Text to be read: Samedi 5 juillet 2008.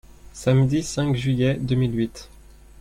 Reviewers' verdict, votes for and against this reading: rejected, 0, 2